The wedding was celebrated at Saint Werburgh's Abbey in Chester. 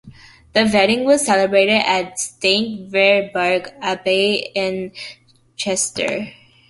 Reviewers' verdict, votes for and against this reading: accepted, 2, 1